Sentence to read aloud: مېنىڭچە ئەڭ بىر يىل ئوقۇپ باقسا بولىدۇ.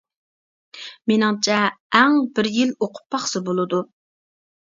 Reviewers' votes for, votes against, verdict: 2, 0, accepted